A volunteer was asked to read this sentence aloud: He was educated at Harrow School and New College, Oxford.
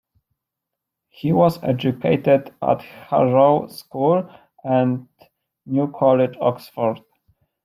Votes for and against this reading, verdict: 2, 0, accepted